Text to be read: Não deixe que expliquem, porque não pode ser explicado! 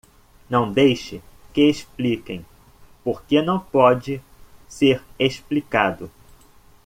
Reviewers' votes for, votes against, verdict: 2, 0, accepted